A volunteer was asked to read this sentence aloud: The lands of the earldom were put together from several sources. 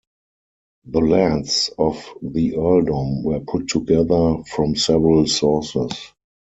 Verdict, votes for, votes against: accepted, 4, 0